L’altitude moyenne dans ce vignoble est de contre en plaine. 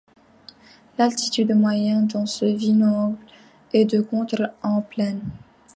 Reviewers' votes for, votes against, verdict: 0, 2, rejected